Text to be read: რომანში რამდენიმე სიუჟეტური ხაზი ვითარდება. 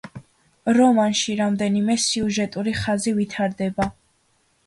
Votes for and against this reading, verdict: 2, 0, accepted